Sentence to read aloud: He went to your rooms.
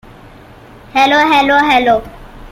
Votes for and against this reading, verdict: 0, 2, rejected